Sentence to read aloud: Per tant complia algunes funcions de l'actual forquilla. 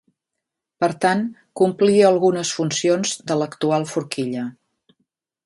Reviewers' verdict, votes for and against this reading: accepted, 4, 0